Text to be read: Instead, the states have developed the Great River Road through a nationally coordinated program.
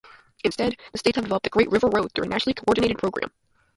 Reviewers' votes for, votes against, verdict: 0, 2, rejected